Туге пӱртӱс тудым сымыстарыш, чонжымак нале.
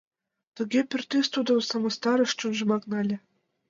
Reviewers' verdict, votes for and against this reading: accepted, 2, 0